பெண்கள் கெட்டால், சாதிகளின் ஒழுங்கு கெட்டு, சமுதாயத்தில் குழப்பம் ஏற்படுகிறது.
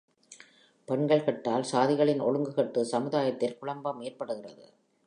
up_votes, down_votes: 2, 0